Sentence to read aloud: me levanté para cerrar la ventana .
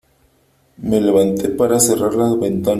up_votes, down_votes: 0, 3